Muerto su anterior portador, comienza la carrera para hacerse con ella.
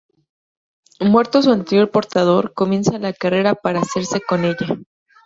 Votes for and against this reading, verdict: 2, 0, accepted